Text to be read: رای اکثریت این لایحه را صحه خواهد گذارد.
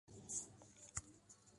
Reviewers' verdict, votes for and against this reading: rejected, 0, 2